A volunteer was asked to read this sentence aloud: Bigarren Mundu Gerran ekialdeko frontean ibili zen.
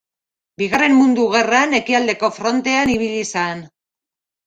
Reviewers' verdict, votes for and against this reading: rejected, 1, 2